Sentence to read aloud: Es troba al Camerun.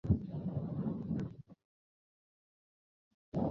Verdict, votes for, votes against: rejected, 0, 3